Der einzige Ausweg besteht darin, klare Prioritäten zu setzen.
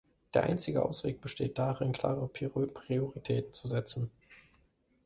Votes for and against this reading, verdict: 0, 2, rejected